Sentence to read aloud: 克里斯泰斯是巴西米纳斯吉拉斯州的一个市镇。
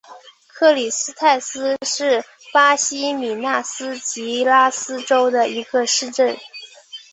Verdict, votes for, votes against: rejected, 0, 2